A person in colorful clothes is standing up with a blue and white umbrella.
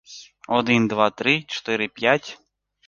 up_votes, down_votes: 1, 3